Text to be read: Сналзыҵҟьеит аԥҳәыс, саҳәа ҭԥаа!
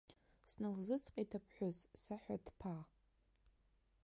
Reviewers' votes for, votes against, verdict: 3, 0, accepted